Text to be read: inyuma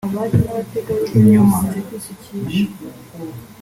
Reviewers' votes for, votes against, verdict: 2, 0, accepted